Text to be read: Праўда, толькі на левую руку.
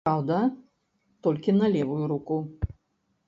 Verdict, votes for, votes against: rejected, 0, 2